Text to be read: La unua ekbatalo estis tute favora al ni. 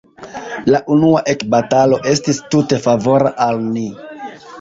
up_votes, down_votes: 2, 0